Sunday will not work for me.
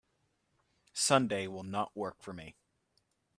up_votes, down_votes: 2, 0